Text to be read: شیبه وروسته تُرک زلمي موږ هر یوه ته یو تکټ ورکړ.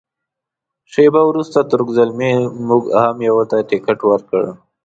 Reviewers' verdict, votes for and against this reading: rejected, 0, 2